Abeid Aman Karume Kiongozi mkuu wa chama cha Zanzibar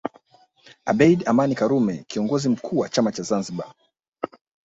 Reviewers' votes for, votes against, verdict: 2, 1, accepted